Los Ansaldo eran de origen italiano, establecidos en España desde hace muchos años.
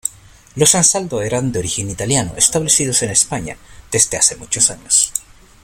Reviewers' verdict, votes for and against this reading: accepted, 2, 0